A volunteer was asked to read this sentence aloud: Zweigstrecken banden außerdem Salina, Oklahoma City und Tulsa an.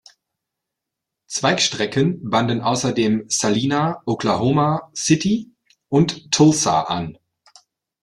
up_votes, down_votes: 2, 0